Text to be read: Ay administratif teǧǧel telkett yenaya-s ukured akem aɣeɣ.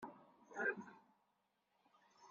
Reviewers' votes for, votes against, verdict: 1, 2, rejected